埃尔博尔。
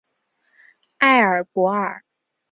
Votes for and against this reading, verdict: 3, 0, accepted